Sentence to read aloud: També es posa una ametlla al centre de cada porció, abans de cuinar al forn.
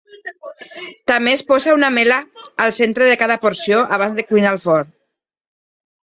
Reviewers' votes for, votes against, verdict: 1, 2, rejected